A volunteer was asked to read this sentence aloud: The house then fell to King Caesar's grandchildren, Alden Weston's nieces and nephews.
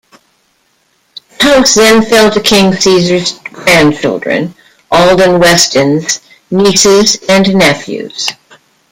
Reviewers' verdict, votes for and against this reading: rejected, 1, 2